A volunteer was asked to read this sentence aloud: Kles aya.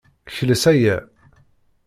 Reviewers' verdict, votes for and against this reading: accepted, 2, 0